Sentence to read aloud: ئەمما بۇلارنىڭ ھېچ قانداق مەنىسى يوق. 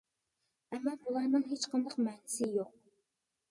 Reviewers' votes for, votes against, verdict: 2, 0, accepted